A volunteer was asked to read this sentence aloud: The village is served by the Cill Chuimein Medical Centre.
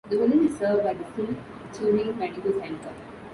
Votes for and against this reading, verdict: 0, 2, rejected